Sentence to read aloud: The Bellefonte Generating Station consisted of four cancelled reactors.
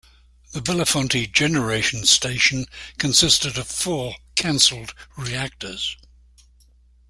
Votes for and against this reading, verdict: 1, 2, rejected